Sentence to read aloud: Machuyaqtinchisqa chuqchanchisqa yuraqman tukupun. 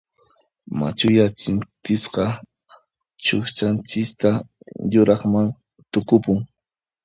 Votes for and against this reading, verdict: 0, 2, rejected